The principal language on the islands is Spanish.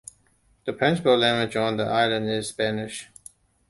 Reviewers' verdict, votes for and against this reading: accepted, 2, 1